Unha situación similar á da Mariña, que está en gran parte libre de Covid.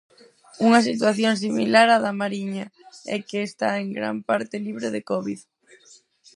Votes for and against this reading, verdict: 0, 4, rejected